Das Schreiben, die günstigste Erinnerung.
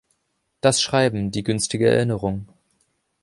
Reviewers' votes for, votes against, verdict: 0, 2, rejected